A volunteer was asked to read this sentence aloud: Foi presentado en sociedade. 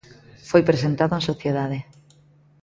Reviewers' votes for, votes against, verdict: 2, 0, accepted